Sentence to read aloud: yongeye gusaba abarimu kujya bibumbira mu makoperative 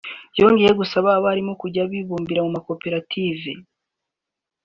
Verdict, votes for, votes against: accepted, 2, 1